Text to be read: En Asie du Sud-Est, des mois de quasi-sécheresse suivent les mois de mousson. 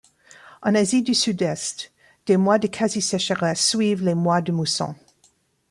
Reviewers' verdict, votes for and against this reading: accepted, 3, 1